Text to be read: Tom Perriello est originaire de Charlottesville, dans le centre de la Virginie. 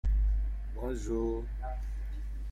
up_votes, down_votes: 0, 3